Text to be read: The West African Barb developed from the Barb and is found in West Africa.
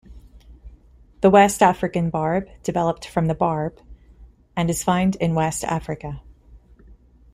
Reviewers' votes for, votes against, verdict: 1, 2, rejected